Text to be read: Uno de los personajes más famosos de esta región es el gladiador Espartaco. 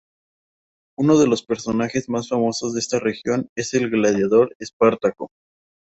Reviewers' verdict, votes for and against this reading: accepted, 2, 0